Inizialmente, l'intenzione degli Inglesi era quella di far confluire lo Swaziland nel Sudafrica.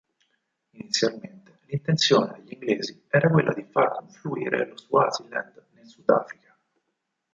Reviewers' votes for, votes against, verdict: 2, 4, rejected